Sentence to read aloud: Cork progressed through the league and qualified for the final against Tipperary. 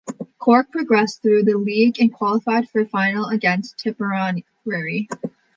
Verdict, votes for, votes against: rejected, 0, 2